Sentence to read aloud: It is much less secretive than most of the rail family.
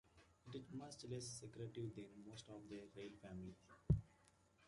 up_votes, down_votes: 2, 1